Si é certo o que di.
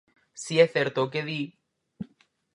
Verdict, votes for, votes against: accepted, 4, 0